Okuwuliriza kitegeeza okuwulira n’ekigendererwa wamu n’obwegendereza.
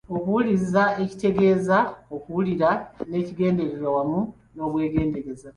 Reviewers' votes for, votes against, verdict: 1, 2, rejected